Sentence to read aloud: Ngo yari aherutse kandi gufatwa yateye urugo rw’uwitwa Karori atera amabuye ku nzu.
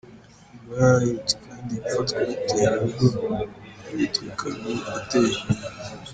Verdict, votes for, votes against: rejected, 0, 3